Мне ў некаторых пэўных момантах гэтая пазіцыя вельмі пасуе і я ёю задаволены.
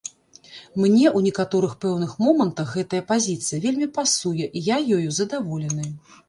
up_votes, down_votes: 0, 2